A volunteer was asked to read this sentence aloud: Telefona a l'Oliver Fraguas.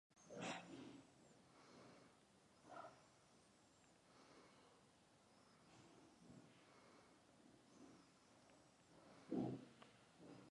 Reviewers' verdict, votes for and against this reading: rejected, 0, 2